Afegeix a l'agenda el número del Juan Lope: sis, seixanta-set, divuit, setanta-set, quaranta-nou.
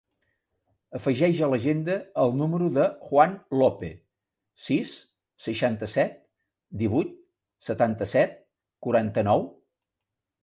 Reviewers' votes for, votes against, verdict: 1, 2, rejected